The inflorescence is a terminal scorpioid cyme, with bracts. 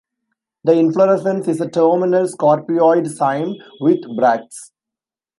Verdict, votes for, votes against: accepted, 2, 1